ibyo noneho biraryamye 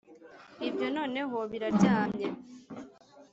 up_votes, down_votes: 0, 2